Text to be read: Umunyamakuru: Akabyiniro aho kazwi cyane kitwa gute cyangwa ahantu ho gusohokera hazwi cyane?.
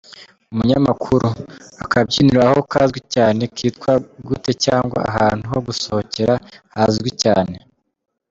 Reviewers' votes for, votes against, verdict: 2, 0, accepted